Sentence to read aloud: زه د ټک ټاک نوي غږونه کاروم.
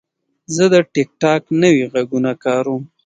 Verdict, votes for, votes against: rejected, 0, 2